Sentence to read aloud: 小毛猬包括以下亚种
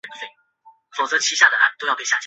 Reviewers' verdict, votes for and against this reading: rejected, 0, 2